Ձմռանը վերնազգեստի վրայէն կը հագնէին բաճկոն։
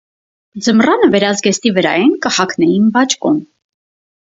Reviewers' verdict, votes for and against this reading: accepted, 4, 2